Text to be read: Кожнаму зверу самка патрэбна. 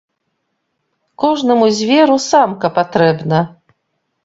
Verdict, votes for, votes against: accepted, 2, 0